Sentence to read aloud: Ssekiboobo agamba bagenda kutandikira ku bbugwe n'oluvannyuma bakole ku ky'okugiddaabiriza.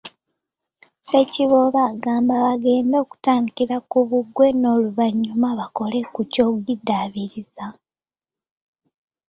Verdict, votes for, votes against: rejected, 0, 2